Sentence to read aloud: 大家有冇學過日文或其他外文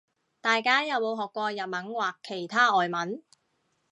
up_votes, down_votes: 2, 0